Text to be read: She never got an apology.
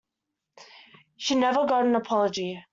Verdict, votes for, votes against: accepted, 2, 0